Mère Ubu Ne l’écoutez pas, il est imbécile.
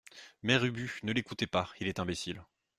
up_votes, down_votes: 2, 0